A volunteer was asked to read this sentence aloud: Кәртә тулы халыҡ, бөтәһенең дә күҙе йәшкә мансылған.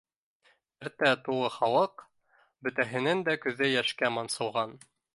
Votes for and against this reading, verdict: 1, 2, rejected